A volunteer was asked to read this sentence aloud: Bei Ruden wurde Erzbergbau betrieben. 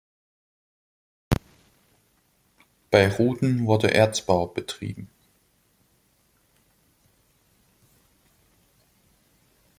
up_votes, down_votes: 0, 2